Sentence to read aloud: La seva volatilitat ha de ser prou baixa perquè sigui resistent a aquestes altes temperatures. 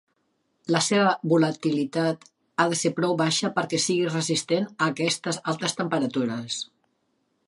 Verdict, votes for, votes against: accepted, 2, 0